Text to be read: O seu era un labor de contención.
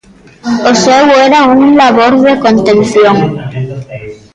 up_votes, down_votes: 2, 0